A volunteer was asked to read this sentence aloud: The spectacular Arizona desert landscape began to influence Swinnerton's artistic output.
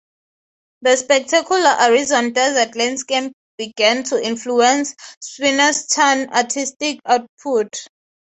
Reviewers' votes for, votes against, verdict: 3, 0, accepted